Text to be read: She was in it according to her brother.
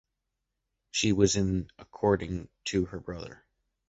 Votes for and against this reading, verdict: 1, 2, rejected